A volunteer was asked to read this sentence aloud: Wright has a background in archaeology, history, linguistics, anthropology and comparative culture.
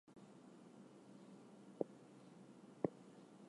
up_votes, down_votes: 0, 4